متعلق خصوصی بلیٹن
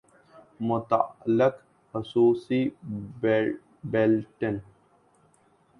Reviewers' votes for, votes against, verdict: 0, 2, rejected